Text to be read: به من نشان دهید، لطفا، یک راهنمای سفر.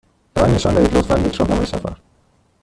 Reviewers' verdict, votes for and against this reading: rejected, 1, 2